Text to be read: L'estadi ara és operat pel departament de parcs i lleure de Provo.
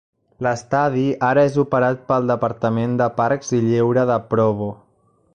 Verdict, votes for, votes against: rejected, 1, 2